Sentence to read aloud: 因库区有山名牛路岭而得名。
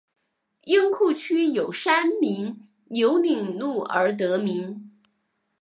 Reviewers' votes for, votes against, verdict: 2, 3, rejected